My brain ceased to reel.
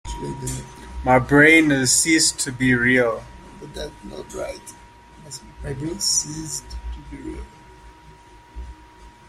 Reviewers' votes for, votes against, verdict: 0, 2, rejected